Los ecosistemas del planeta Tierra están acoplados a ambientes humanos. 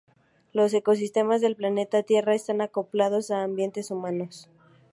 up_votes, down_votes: 2, 0